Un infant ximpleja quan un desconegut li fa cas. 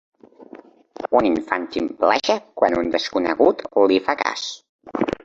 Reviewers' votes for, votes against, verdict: 2, 1, accepted